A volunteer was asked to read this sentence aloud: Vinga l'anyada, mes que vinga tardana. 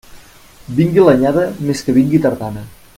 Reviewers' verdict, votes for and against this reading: rejected, 0, 2